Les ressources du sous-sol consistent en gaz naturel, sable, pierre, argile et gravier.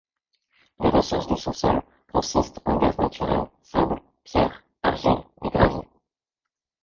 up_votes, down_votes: 0, 2